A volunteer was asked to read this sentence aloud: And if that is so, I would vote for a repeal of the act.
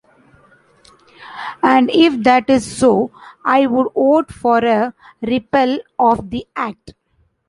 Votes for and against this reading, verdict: 2, 1, accepted